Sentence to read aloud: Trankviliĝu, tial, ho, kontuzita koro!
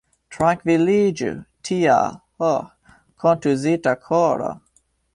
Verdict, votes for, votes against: rejected, 1, 2